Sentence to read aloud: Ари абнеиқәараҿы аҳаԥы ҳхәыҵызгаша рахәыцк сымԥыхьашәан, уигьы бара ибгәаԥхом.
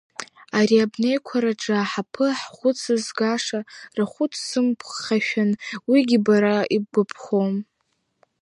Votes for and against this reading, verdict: 1, 2, rejected